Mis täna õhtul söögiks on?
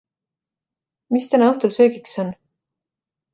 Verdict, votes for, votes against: accepted, 2, 0